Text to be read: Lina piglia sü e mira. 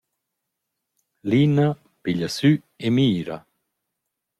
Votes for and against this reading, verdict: 2, 0, accepted